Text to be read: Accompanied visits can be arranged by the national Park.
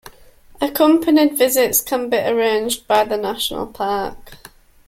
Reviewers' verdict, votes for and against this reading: accepted, 2, 0